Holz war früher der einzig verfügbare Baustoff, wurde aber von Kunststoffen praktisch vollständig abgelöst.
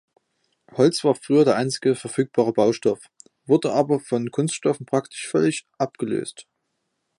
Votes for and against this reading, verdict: 0, 2, rejected